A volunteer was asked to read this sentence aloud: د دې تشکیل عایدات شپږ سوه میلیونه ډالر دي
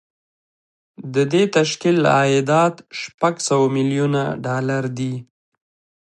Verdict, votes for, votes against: rejected, 1, 2